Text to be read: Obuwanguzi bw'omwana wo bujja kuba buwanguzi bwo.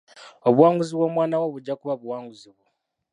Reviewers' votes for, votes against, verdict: 0, 2, rejected